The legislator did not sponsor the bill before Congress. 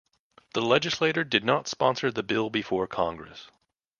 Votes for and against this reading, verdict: 2, 0, accepted